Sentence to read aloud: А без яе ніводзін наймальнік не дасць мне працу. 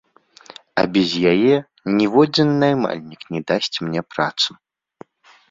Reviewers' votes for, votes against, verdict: 2, 0, accepted